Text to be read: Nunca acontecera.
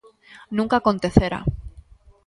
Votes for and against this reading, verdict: 1, 2, rejected